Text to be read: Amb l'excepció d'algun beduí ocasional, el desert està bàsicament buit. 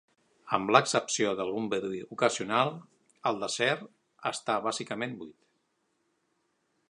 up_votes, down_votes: 1, 2